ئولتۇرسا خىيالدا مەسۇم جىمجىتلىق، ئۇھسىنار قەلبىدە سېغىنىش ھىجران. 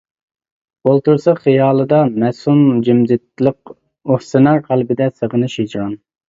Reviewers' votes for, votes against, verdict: 0, 2, rejected